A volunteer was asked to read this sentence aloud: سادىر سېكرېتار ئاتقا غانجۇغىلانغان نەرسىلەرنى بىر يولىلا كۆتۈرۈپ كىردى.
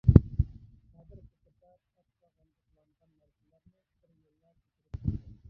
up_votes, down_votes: 0, 2